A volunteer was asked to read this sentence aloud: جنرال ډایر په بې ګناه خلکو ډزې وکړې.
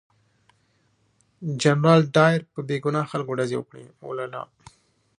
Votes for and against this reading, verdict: 1, 2, rejected